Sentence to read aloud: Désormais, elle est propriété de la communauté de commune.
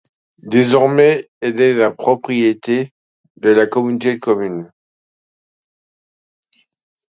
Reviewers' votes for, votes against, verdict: 1, 2, rejected